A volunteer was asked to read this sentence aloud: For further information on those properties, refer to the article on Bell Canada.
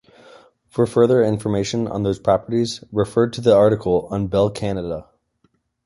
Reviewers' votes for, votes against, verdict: 2, 0, accepted